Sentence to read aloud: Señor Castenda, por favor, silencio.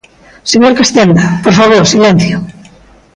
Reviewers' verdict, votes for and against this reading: accepted, 2, 0